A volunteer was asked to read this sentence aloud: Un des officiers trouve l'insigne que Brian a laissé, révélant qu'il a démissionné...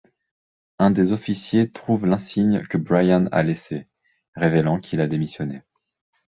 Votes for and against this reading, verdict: 2, 0, accepted